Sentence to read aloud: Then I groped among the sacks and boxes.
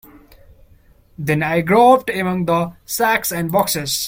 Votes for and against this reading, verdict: 2, 0, accepted